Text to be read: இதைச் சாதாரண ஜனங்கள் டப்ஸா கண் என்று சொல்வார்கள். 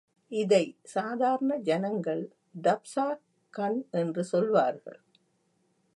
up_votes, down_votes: 4, 1